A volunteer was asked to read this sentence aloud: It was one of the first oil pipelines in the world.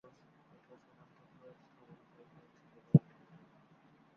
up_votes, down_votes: 0, 2